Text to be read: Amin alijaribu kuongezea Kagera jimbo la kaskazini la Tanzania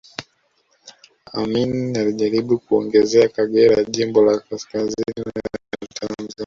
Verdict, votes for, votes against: rejected, 1, 2